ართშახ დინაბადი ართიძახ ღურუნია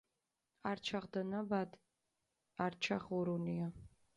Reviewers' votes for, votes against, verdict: 0, 2, rejected